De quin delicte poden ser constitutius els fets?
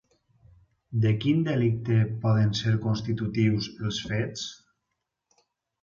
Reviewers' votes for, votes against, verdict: 6, 0, accepted